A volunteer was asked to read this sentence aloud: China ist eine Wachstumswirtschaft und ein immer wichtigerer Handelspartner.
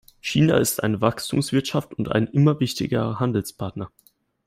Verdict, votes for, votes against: rejected, 1, 2